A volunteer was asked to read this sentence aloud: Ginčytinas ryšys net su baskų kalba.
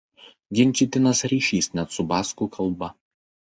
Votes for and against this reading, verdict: 2, 0, accepted